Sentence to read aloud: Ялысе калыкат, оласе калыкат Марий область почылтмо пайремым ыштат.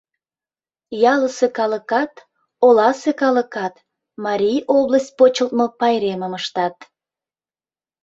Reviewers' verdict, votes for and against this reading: accepted, 2, 0